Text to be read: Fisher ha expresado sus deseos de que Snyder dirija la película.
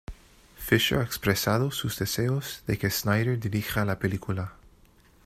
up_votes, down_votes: 2, 0